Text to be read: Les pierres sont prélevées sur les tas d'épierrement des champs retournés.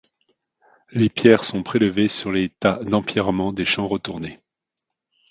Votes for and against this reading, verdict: 1, 2, rejected